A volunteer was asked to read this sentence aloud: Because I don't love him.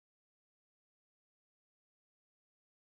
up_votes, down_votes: 0, 2